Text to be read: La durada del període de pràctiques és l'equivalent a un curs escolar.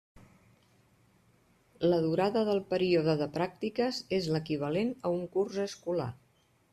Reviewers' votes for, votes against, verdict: 3, 0, accepted